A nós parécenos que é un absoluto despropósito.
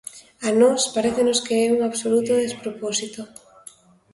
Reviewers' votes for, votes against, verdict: 2, 0, accepted